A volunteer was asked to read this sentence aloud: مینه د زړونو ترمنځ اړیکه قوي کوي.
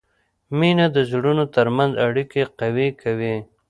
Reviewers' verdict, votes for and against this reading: accepted, 2, 0